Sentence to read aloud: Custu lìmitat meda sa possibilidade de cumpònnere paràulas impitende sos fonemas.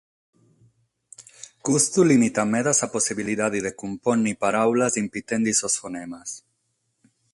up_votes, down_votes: 6, 0